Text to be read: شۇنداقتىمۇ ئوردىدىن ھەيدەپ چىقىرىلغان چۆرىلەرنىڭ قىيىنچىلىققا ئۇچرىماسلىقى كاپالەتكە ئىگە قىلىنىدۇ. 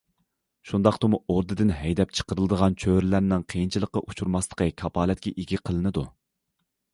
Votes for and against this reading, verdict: 0, 2, rejected